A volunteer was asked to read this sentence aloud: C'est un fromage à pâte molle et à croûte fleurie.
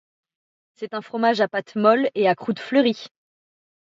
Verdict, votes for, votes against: accepted, 2, 0